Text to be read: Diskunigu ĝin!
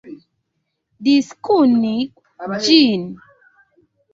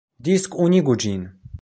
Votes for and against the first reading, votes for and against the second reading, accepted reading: 0, 3, 2, 1, second